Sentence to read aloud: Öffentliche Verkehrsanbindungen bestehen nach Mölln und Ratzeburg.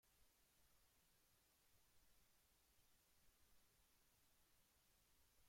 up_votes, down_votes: 0, 2